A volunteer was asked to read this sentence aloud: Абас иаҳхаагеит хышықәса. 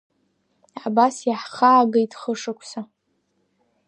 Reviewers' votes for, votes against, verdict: 2, 1, accepted